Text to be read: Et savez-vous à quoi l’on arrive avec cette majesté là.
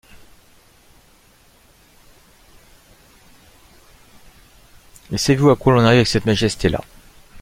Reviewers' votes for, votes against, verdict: 0, 2, rejected